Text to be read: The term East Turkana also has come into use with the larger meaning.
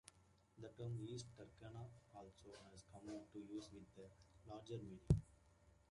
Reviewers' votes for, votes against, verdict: 2, 1, accepted